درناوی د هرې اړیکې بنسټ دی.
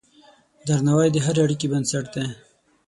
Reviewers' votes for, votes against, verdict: 12, 3, accepted